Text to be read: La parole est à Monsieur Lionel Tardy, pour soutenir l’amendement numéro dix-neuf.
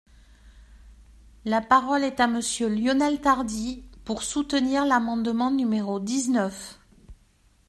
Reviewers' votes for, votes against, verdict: 2, 0, accepted